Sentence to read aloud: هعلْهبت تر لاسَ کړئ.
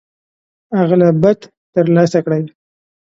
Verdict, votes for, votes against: accepted, 2, 0